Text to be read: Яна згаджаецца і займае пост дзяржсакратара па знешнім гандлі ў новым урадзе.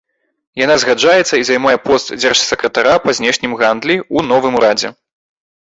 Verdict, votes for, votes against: accepted, 2, 0